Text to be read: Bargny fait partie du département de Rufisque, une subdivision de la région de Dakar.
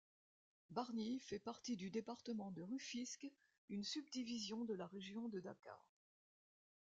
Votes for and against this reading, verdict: 2, 0, accepted